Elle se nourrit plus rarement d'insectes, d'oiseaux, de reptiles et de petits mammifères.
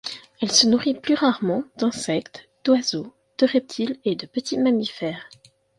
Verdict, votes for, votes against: accepted, 2, 0